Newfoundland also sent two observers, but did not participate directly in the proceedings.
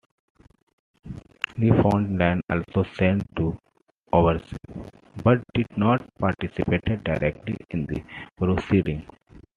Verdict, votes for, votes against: rejected, 1, 2